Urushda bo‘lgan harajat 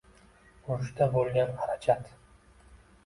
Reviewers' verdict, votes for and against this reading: accepted, 2, 0